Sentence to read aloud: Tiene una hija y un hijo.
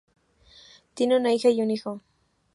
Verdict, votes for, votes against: accepted, 2, 0